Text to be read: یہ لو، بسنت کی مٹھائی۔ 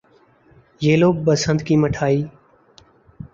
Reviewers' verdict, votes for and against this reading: accepted, 2, 0